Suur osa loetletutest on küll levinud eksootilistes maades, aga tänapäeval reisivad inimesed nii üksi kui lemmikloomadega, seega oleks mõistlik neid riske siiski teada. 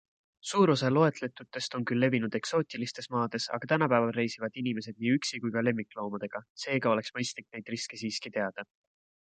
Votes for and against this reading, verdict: 2, 1, accepted